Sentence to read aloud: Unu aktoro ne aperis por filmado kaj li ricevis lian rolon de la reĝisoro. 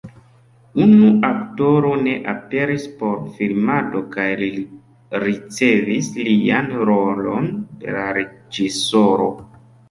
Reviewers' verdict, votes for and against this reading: accepted, 2, 1